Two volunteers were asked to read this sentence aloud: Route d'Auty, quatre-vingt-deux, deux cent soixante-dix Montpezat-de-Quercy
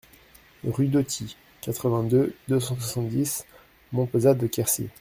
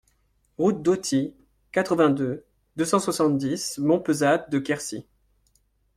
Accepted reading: second